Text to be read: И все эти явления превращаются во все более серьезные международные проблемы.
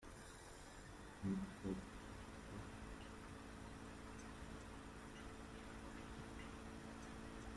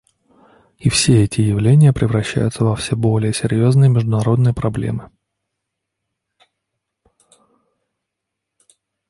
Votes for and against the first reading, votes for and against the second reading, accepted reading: 0, 2, 2, 0, second